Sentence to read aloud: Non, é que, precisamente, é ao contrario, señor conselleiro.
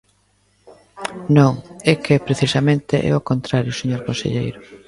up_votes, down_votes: 1, 2